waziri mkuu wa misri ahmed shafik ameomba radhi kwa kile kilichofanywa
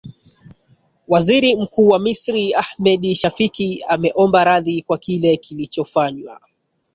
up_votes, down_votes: 1, 2